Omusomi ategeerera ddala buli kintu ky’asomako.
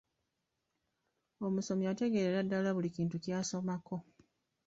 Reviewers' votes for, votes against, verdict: 1, 2, rejected